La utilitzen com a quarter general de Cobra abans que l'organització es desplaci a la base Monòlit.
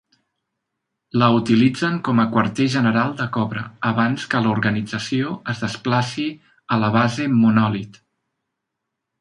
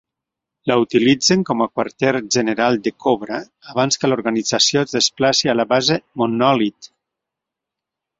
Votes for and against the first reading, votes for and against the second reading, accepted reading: 3, 0, 1, 2, first